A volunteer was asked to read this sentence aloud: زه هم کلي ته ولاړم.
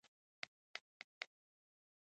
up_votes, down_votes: 1, 2